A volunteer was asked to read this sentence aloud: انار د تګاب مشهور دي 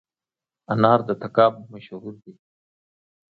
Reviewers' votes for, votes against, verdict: 1, 2, rejected